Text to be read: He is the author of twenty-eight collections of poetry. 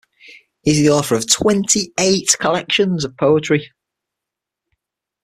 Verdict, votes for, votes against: accepted, 6, 0